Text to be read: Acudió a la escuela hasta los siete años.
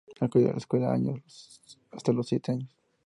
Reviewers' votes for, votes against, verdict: 0, 2, rejected